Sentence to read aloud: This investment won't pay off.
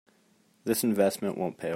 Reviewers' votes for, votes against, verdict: 0, 2, rejected